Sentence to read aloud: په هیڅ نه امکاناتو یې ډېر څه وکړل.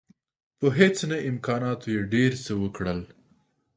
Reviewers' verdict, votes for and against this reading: accepted, 2, 0